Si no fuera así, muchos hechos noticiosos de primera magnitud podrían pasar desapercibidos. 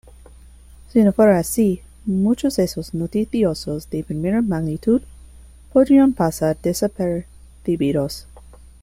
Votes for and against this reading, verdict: 2, 1, accepted